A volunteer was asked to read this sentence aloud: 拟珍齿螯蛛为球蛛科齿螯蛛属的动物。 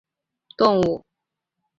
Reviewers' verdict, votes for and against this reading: rejected, 1, 2